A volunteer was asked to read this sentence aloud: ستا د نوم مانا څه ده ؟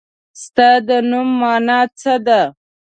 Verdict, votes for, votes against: accepted, 2, 0